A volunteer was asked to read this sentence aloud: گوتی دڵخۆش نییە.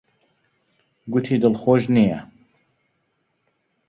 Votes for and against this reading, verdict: 2, 0, accepted